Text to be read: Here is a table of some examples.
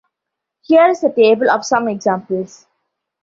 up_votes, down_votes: 2, 0